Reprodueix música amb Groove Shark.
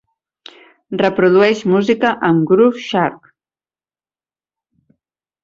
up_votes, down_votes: 6, 0